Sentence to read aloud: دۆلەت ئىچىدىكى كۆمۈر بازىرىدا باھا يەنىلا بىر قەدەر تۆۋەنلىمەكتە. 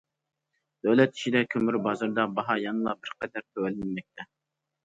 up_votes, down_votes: 0, 2